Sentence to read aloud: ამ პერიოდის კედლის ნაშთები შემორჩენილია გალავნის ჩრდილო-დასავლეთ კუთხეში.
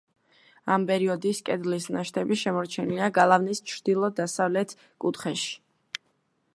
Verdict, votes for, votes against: accepted, 2, 0